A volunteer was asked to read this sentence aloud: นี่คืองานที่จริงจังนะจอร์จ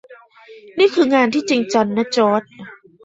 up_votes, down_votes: 1, 2